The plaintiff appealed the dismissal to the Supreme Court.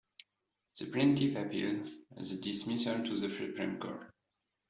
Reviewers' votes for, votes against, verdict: 0, 2, rejected